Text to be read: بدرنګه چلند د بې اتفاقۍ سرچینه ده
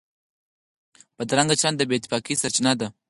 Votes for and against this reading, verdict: 4, 0, accepted